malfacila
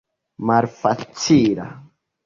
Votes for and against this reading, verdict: 3, 2, accepted